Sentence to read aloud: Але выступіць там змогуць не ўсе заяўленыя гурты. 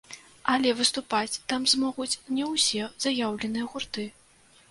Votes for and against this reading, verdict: 1, 2, rejected